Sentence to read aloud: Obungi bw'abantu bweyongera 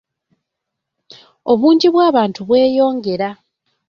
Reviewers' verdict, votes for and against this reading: rejected, 1, 2